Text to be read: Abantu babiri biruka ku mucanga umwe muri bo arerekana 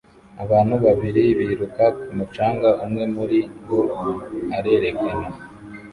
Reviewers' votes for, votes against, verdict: 2, 0, accepted